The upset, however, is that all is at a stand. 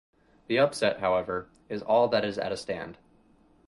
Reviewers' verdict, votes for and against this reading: rejected, 0, 4